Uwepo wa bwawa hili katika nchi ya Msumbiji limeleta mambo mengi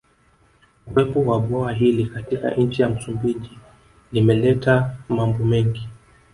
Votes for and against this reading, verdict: 1, 2, rejected